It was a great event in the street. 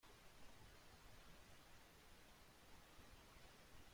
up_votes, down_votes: 0, 2